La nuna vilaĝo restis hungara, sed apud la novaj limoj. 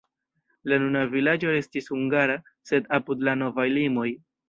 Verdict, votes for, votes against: rejected, 1, 2